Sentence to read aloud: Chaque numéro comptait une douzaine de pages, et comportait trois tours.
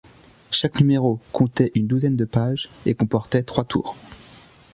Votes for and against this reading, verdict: 2, 0, accepted